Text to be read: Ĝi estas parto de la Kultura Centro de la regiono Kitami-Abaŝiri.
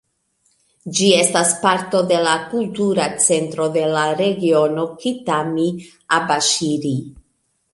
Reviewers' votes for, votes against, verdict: 1, 2, rejected